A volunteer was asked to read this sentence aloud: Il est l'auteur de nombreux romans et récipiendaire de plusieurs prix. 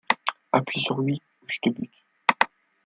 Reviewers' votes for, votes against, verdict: 0, 2, rejected